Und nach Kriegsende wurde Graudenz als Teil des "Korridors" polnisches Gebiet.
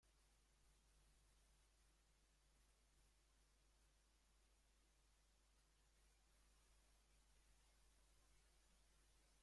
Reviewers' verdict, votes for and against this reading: rejected, 0, 2